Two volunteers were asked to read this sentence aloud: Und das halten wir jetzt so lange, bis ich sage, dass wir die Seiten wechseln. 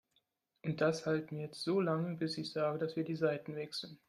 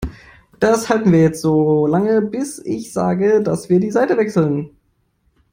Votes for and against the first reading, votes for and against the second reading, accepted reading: 2, 0, 1, 2, first